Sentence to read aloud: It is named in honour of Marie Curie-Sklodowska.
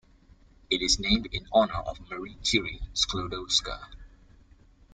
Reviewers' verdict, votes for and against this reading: accepted, 2, 0